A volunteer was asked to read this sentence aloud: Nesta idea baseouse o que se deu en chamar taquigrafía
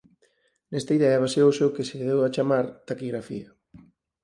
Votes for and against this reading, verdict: 2, 4, rejected